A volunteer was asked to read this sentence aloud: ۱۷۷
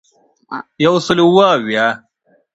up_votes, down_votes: 0, 2